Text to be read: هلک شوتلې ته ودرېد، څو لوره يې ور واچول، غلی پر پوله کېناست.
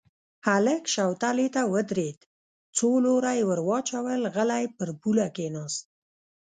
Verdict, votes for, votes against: rejected, 0, 2